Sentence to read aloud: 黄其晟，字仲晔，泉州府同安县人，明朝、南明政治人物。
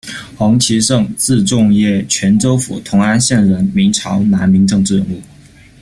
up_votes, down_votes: 2, 0